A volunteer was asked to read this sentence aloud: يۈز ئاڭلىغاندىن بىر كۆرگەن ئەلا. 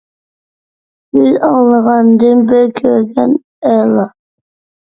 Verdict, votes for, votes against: rejected, 1, 2